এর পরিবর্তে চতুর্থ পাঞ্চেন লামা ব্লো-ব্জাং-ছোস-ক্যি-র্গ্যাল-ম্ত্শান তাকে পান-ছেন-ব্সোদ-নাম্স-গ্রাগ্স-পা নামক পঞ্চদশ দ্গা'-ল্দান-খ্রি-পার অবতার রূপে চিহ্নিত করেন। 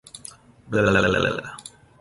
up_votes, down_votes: 0, 2